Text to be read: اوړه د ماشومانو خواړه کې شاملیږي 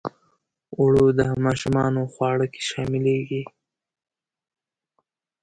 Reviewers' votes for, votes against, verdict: 2, 0, accepted